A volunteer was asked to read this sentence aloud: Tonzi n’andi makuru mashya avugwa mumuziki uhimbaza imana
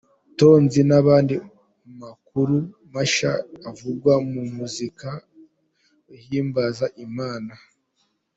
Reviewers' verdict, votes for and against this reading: rejected, 0, 2